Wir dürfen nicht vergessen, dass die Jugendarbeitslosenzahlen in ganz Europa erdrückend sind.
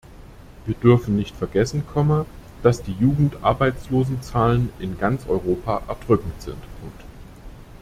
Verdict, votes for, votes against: rejected, 1, 2